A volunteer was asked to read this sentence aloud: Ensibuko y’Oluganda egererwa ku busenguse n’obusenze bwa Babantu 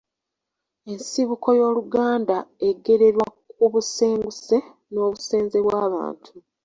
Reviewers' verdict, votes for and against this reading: accepted, 2, 0